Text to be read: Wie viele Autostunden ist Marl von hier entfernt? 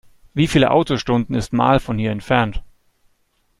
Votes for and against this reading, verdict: 3, 0, accepted